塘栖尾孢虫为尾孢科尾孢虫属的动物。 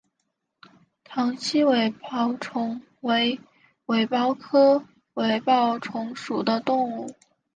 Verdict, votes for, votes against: rejected, 2, 2